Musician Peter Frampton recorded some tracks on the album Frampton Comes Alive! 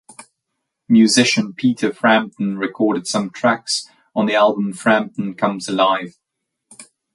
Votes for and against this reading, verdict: 2, 0, accepted